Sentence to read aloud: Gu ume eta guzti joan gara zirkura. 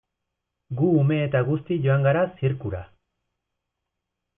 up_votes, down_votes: 2, 0